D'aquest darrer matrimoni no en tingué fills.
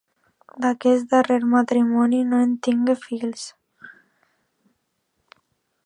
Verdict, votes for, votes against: accepted, 2, 1